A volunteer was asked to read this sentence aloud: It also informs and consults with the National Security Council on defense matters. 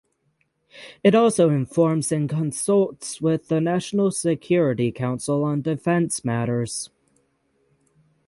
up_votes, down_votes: 6, 0